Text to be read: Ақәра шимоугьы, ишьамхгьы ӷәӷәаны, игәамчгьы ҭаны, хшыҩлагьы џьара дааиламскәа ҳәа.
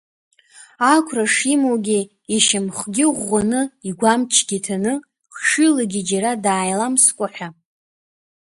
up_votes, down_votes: 2, 0